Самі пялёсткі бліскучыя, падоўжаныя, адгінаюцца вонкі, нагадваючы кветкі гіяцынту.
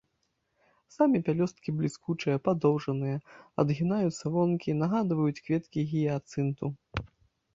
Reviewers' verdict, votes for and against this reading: rejected, 0, 2